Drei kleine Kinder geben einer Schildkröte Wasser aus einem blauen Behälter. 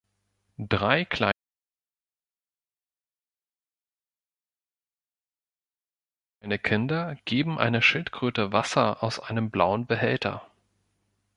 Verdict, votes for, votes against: rejected, 0, 2